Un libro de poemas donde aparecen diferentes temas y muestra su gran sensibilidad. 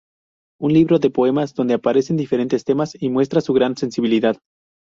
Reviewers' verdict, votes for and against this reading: accepted, 2, 0